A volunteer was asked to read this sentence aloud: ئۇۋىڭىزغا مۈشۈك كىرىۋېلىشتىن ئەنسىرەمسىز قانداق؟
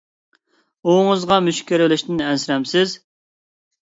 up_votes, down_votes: 0, 2